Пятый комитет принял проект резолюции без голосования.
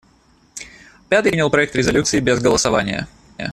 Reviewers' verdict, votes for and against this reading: rejected, 0, 2